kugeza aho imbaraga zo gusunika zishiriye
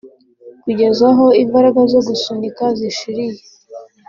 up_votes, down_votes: 2, 1